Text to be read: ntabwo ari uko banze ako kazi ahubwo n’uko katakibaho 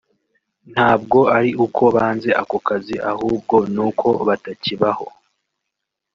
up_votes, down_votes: 1, 2